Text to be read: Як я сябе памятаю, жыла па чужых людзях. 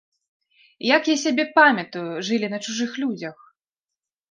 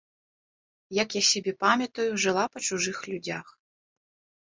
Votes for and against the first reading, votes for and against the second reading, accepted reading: 0, 2, 2, 0, second